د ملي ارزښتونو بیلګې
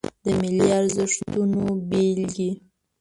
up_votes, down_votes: 1, 2